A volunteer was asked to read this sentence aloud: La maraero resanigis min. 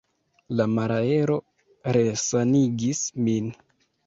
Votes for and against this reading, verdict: 1, 2, rejected